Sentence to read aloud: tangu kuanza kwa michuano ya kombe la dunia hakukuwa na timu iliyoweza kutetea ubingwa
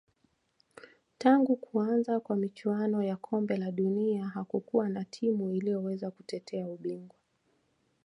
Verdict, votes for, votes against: accepted, 2, 1